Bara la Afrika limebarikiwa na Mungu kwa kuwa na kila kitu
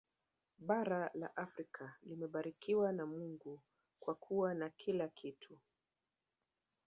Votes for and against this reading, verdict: 0, 2, rejected